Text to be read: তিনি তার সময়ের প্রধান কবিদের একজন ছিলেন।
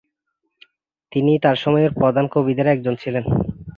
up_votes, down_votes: 1, 2